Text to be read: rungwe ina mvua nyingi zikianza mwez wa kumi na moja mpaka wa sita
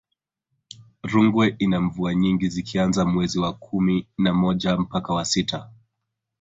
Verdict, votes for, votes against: accepted, 2, 0